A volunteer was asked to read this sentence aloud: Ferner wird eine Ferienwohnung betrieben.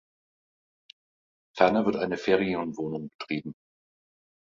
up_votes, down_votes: 1, 2